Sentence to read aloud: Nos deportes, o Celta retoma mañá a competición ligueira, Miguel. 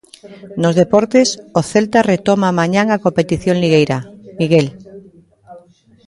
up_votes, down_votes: 0, 2